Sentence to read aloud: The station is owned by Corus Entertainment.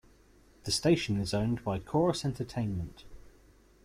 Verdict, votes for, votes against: accepted, 2, 0